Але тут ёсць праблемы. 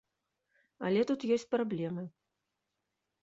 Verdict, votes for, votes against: accepted, 2, 0